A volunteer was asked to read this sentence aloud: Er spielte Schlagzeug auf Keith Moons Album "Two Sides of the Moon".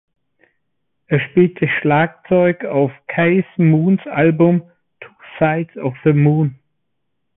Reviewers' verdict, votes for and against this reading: rejected, 1, 2